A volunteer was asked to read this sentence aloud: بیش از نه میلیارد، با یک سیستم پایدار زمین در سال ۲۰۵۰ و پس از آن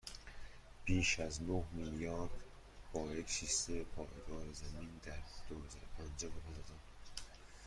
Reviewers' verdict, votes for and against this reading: rejected, 0, 2